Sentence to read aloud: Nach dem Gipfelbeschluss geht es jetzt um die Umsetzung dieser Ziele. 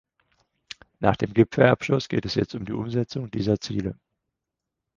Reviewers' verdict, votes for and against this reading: rejected, 2, 4